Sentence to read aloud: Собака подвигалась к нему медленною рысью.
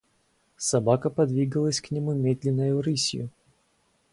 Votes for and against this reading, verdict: 0, 2, rejected